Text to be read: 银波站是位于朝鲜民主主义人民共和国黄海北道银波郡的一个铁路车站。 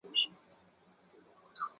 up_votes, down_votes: 0, 4